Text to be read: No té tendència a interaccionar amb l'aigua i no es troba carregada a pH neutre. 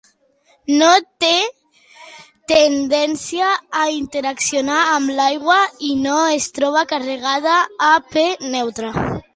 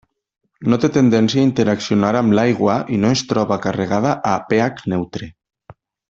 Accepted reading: second